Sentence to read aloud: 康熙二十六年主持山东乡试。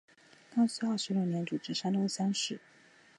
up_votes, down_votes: 4, 0